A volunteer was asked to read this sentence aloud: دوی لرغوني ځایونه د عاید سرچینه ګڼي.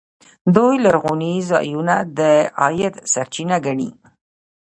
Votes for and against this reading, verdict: 2, 0, accepted